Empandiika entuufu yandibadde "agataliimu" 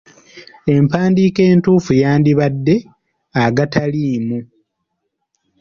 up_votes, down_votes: 3, 0